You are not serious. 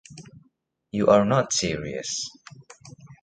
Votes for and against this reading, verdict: 2, 0, accepted